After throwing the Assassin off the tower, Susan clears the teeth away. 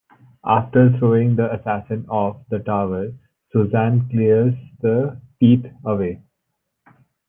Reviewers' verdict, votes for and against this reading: accepted, 2, 0